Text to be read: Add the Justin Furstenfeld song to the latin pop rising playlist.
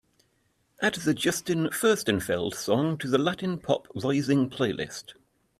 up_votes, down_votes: 2, 0